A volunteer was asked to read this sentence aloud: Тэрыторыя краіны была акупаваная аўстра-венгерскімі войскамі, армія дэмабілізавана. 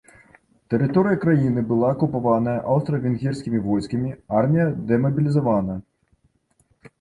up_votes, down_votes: 2, 0